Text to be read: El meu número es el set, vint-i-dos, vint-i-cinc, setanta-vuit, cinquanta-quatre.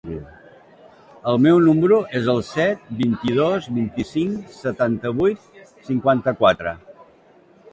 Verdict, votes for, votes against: accepted, 2, 0